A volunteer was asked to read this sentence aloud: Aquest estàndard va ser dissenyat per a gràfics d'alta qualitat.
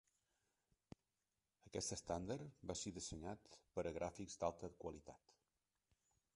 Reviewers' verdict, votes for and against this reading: rejected, 1, 2